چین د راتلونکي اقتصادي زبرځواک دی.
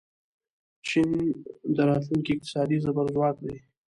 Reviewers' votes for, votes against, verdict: 0, 2, rejected